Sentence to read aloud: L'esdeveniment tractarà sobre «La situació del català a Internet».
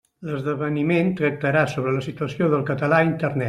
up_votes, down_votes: 2, 0